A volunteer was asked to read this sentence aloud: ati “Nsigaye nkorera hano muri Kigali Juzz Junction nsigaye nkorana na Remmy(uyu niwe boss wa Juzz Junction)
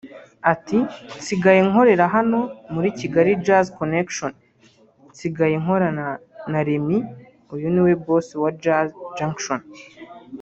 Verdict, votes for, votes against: rejected, 0, 2